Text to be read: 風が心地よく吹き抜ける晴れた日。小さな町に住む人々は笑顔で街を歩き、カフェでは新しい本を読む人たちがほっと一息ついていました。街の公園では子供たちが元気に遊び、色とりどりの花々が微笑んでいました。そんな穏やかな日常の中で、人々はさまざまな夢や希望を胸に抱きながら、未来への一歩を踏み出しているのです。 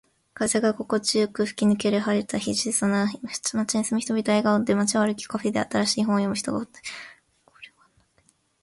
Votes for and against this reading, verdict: 0, 2, rejected